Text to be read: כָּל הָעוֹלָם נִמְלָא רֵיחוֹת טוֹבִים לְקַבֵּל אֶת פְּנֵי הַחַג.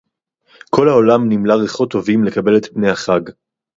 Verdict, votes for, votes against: accepted, 4, 0